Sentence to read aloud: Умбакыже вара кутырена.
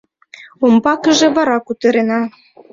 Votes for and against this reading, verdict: 2, 1, accepted